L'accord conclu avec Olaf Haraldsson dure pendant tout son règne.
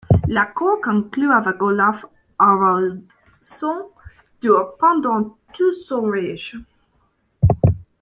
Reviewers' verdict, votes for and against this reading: rejected, 1, 2